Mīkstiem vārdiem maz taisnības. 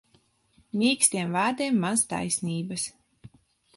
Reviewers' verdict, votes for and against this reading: accepted, 2, 0